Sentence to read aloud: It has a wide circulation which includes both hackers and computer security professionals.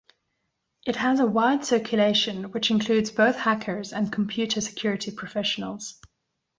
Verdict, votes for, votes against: accepted, 2, 0